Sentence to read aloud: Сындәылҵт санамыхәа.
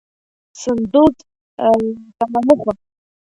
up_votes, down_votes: 0, 2